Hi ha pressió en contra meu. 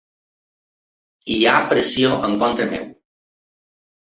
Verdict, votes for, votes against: accepted, 3, 0